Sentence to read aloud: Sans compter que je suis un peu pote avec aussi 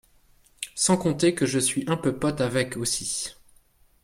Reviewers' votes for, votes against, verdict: 2, 0, accepted